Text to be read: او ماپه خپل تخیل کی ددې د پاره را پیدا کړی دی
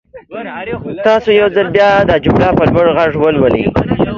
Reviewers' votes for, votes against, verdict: 0, 2, rejected